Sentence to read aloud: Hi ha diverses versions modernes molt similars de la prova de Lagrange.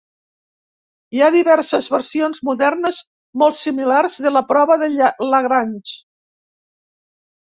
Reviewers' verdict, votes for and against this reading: rejected, 0, 2